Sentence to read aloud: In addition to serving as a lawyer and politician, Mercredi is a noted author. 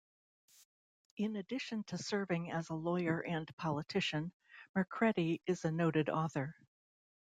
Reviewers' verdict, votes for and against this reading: accepted, 2, 0